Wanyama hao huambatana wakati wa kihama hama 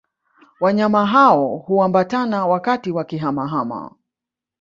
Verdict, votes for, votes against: accepted, 2, 0